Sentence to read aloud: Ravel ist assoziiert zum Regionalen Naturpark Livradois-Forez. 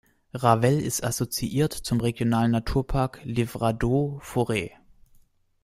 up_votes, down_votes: 1, 2